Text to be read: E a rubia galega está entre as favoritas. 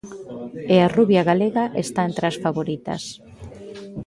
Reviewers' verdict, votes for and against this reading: accepted, 2, 0